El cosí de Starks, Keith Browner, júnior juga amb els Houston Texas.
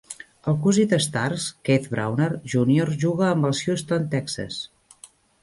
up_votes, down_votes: 2, 0